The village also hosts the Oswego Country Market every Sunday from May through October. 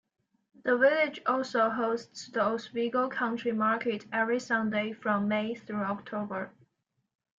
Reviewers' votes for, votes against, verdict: 2, 0, accepted